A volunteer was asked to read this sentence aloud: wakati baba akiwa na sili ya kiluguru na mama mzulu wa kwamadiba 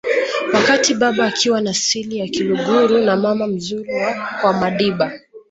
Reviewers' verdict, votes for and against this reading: accepted, 2, 1